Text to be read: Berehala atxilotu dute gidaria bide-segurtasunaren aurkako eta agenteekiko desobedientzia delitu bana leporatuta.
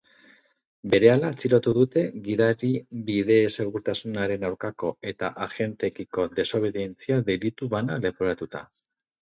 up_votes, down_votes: 2, 4